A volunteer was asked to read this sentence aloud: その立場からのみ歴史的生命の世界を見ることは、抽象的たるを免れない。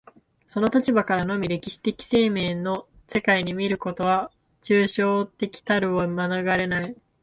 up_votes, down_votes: 1, 2